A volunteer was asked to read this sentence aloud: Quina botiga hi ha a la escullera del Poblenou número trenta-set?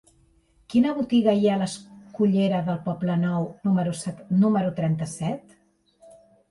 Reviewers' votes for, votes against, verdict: 0, 2, rejected